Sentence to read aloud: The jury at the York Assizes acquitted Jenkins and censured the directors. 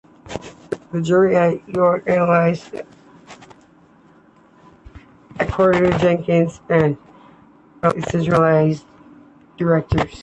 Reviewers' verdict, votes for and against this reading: rejected, 1, 2